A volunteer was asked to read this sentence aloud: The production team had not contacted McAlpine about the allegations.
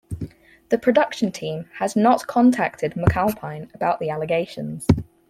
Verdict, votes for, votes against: rejected, 2, 4